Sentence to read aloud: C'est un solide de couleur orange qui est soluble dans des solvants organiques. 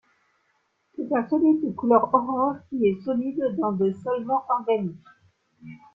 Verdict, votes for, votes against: accepted, 2, 0